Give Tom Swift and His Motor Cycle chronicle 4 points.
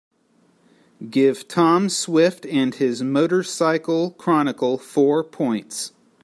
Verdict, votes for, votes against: rejected, 0, 2